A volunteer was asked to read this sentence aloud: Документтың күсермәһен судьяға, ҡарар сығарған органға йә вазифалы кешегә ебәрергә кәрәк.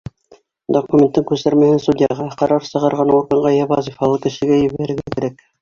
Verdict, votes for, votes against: accepted, 3, 2